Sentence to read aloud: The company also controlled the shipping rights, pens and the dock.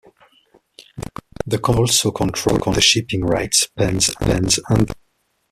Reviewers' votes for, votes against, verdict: 0, 2, rejected